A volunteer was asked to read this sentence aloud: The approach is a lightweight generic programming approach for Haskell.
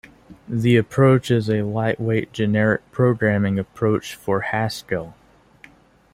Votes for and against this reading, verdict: 2, 0, accepted